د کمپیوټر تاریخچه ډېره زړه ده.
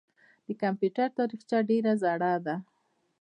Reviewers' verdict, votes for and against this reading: accepted, 2, 0